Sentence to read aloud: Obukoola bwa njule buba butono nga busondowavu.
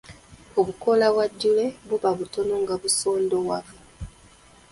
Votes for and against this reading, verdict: 0, 2, rejected